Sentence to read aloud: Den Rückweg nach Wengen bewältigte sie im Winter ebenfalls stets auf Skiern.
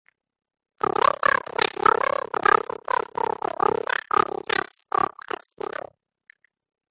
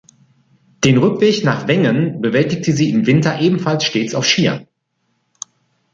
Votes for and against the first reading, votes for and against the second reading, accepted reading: 0, 2, 3, 0, second